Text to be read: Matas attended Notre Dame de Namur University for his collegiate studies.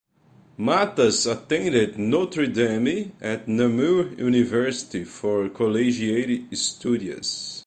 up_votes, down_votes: 2, 3